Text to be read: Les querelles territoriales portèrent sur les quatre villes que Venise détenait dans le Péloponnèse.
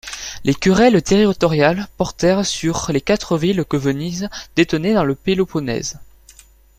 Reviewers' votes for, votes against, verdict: 2, 0, accepted